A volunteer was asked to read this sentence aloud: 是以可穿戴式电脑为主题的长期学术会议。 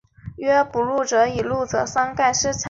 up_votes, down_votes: 0, 3